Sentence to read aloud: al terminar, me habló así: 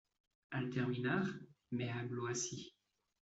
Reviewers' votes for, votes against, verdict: 0, 2, rejected